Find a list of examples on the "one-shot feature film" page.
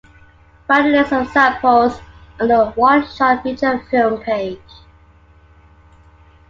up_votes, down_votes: 0, 2